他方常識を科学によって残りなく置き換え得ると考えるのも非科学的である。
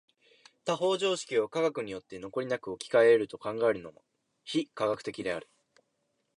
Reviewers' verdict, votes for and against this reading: accepted, 3, 0